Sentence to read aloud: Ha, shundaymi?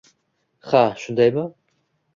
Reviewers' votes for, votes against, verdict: 2, 0, accepted